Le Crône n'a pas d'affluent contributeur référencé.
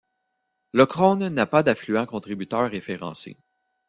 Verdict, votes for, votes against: accepted, 2, 1